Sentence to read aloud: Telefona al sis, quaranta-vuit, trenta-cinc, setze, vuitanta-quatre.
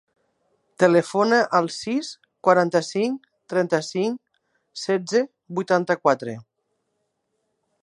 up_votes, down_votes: 1, 2